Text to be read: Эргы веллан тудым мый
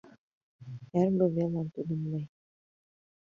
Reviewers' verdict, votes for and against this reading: rejected, 1, 2